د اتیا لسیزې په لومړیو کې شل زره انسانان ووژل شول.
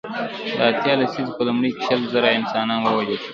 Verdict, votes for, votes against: rejected, 0, 2